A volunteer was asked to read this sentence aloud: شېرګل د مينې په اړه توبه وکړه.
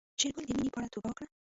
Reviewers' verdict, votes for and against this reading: rejected, 0, 2